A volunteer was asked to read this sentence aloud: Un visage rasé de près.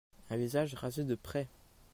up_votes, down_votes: 2, 0